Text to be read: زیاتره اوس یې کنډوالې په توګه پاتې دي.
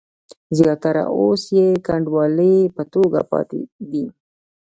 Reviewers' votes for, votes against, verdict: 1, 2, rejected